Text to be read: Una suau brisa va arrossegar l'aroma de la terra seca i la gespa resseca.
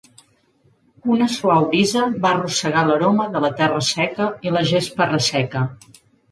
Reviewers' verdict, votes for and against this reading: accepted, 4, 1